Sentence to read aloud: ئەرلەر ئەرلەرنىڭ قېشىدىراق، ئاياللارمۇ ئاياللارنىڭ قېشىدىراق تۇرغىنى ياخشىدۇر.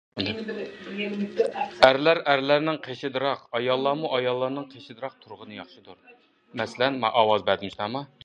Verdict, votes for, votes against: rejected, 0, 2